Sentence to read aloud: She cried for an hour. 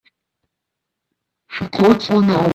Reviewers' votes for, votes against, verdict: 0, 2, rejected